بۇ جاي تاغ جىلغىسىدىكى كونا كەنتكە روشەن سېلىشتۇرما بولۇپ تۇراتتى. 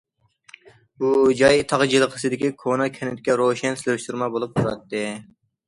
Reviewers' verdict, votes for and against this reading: accepted, 2, 0